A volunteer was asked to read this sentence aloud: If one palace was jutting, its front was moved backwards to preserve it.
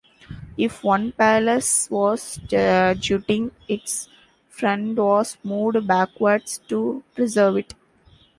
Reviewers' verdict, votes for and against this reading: rejected, 1, 3